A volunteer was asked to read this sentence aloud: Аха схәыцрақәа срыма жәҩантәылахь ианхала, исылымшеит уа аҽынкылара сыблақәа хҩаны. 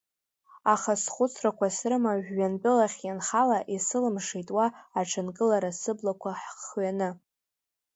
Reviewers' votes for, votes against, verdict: 1, 3, rejected